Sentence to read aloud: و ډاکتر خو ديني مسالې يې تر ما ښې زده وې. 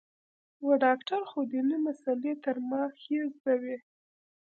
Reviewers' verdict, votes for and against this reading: accepted, 2, 0